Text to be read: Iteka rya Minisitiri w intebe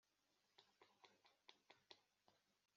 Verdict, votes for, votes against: rejected, 0, 2